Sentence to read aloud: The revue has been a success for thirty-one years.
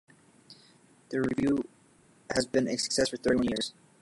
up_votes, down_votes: 1, 2